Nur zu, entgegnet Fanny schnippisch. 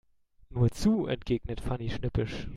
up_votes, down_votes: 2, 0